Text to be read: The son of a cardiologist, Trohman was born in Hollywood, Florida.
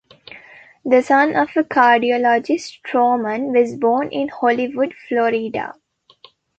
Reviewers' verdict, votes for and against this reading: accepted, 2, 0